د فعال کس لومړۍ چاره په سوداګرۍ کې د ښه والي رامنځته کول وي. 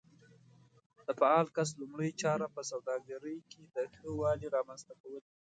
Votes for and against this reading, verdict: 1, 2, rejected